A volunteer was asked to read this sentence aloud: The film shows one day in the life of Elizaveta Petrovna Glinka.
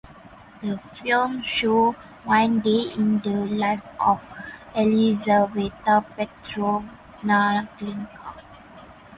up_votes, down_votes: 2, 2